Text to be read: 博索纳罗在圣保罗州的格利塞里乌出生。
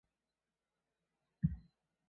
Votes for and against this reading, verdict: 0, 2, rejected